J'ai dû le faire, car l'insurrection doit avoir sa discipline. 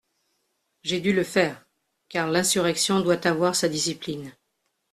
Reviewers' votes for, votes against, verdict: 2, 0, accepted